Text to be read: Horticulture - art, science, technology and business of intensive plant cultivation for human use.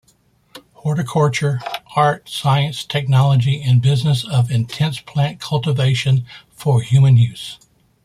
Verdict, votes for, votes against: accepted, 2, 0